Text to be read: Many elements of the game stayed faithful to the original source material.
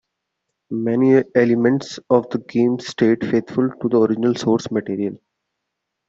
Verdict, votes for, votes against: accepted, 2, 0